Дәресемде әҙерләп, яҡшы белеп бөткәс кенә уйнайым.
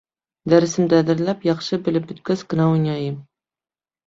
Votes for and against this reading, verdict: 1, 2, rejected